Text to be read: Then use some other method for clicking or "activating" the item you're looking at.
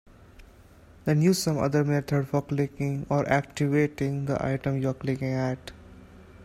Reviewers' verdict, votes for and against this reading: rejected, 1, 2